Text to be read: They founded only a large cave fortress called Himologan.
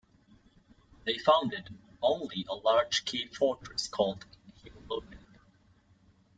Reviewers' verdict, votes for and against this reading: rejected, 1, 2